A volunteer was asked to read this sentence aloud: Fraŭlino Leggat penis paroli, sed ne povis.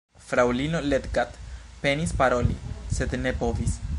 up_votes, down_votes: 2, 1